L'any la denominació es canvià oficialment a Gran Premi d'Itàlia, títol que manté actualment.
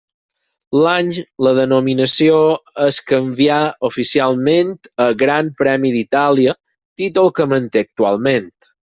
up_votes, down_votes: 4, 0